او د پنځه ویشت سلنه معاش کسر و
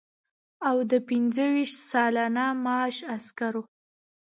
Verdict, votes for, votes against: rejected, 1, 2